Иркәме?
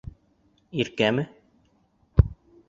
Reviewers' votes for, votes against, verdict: 2, 0, accepted